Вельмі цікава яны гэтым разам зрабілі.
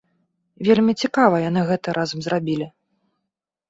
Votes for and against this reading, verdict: 0, 2, rejected